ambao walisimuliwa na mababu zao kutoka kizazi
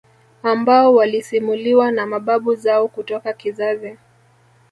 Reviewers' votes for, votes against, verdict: 2, 1, accepted